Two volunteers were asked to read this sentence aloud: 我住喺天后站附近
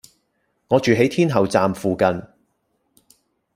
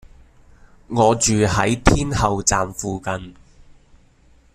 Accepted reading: second